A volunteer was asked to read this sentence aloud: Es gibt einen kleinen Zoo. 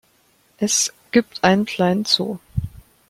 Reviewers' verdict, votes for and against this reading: accepted, 2, 0